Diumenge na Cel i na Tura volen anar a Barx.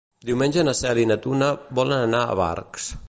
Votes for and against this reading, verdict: 1, 2, rejected